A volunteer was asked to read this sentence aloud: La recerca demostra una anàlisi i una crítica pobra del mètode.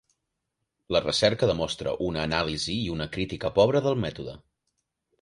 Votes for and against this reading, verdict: 3, 0, accepted